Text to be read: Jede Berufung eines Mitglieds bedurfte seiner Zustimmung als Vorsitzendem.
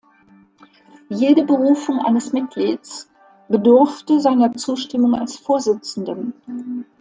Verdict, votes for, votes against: rejected, 1, 2